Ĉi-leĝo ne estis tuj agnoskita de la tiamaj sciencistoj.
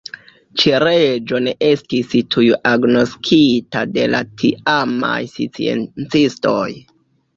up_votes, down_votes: 0, 2